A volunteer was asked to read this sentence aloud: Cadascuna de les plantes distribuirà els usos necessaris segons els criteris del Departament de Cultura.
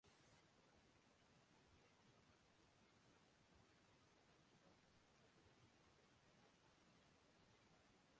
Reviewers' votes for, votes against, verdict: 0, 3, rejected